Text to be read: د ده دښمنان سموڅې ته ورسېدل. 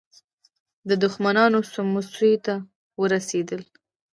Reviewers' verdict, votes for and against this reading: rejected, 1, 2